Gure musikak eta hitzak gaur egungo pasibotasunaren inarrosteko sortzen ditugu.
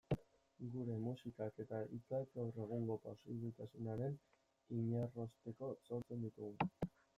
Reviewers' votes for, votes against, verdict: 2, 0, accepted